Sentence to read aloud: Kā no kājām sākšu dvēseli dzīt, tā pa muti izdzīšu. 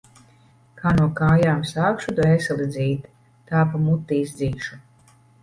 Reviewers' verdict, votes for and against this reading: rejected, 0, 2